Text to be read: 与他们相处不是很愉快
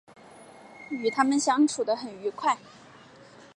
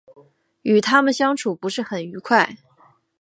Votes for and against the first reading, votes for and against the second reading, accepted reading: 3, 4, 2, 0, second